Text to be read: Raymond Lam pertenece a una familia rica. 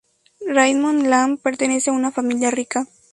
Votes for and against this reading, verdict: 0, 2, rejected